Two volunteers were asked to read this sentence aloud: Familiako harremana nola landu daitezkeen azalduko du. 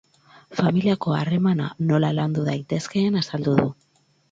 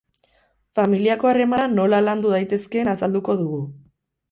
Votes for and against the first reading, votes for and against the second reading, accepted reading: 4, 2, 0, 4, first